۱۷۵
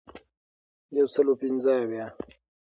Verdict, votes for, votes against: rejected, 0, 2